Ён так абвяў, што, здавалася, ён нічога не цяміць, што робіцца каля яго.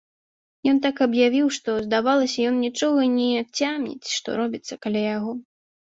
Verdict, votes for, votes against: rejected, 0, 2